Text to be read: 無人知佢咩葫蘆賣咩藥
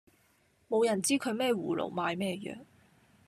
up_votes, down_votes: 2, 0